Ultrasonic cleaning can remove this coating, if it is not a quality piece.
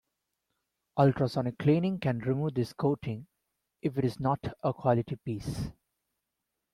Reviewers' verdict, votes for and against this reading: accepted, 3, 0